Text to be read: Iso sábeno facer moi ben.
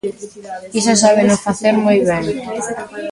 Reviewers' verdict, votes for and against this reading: rejected, 0, 2